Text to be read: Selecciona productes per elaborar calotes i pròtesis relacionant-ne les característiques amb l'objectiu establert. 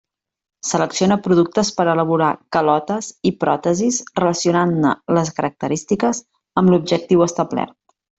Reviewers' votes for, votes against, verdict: 2, 0, accepted